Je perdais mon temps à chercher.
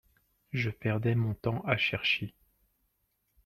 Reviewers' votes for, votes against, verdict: 2, 0, accepted